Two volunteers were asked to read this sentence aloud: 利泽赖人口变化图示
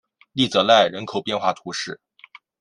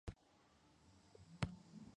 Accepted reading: first